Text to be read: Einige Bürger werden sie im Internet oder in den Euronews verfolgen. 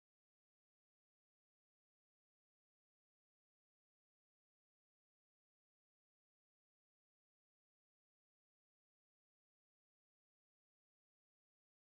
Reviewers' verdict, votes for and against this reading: rejected, 0, 2